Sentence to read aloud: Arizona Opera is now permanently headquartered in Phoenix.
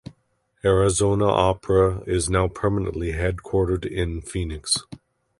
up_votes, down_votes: 2, 0